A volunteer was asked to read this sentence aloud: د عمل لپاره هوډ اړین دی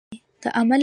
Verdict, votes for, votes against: rejected, 0, 2